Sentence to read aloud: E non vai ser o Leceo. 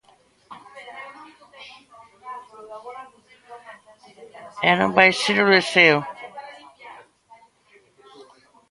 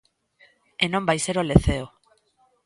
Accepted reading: second